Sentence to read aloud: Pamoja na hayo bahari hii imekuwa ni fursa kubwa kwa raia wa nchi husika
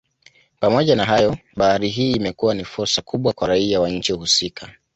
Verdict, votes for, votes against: accepted, 2, 0